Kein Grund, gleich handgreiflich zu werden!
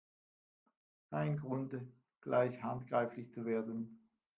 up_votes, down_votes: 1, 2